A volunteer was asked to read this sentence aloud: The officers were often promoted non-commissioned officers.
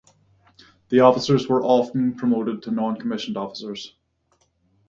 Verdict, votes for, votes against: rejected, 0, 3